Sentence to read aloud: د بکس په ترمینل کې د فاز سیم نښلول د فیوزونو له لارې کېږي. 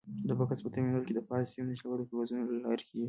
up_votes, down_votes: 1, 2